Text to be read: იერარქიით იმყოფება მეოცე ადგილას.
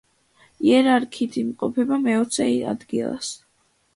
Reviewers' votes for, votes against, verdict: 1, 2, rejected